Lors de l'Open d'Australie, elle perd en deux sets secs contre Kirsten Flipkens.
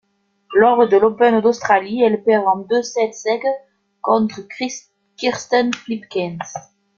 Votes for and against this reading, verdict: 1, 2, rejected